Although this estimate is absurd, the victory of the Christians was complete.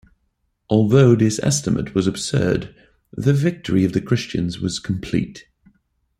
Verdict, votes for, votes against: rejected, 1, 2